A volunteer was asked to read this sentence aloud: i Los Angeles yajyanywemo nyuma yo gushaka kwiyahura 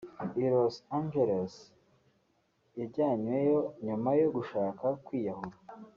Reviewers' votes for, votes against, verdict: 2, 3, rejected